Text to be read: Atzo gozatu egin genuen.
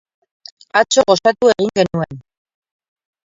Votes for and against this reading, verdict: 2, 4, rejected